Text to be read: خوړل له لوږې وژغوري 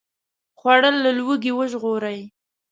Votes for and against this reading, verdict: 1, 2, rejected